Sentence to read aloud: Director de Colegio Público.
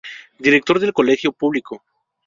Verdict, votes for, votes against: rejected, 0, 2